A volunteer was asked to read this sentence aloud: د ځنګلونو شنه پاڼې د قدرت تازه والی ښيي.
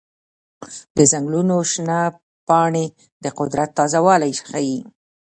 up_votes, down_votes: 1, 2